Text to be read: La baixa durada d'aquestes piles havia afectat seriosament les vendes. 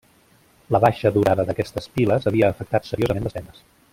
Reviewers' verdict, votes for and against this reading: rejected, 1, 2